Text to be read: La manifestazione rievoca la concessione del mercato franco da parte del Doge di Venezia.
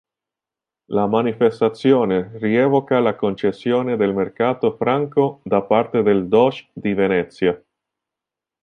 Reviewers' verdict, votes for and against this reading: accepted, 2, 0